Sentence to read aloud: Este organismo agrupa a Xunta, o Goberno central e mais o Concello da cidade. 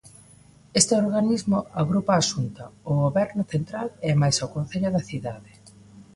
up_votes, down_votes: 2, 1